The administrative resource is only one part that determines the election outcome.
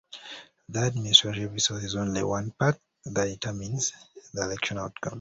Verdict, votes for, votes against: accepted, 2, 0